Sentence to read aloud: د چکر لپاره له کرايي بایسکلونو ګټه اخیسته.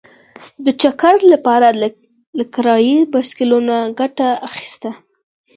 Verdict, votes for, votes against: accepted, 4, 0